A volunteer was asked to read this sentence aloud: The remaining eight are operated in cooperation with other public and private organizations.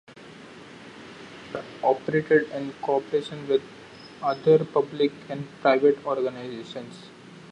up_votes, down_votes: 0, 2